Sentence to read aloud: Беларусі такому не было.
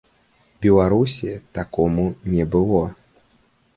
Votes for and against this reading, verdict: 2, 1, accepted